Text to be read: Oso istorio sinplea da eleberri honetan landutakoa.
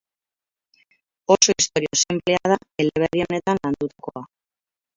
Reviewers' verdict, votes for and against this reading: rejected, 0, 4